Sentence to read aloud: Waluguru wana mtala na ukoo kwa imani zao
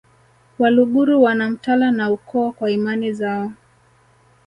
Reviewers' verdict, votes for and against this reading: rejected, 0, 2